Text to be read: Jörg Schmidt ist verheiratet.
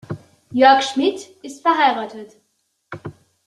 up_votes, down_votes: 2, 0